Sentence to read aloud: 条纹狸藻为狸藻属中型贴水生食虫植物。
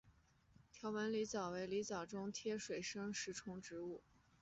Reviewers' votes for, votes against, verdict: 1, 2, rejected